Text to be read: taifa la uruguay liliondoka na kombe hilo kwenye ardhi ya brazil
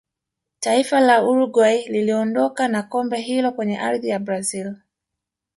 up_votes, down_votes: 1, 2